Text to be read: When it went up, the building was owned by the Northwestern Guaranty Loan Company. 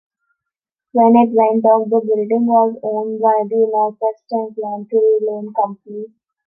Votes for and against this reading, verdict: 1, 3, rejected